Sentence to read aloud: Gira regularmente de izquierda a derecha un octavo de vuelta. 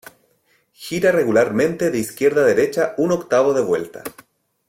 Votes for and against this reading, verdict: 2, 0, accepted